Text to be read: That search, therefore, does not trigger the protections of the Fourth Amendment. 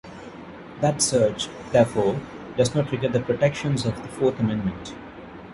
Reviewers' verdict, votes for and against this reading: accepted, 2, 0